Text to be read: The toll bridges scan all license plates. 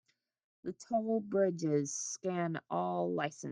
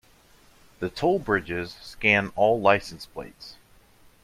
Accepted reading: second